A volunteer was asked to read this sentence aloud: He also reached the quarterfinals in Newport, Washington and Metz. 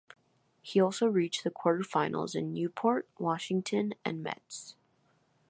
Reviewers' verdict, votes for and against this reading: accepted, 2, 0